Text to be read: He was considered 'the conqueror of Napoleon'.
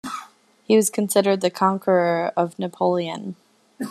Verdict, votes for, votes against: accepted, 2, 0